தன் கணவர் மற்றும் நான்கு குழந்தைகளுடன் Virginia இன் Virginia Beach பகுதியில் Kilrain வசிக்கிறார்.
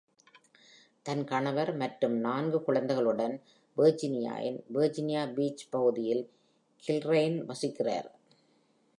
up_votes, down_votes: 1, 2